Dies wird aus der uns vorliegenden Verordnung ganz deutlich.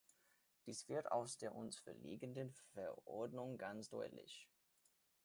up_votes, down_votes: 2, 0